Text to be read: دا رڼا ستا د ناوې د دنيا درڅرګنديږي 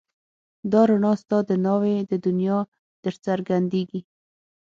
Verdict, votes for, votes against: accepted, 6, 0